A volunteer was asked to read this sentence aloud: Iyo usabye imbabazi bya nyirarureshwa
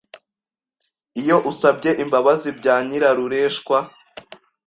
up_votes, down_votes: 2, 0